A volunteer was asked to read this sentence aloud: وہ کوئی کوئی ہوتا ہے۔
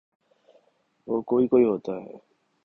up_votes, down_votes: 2, 0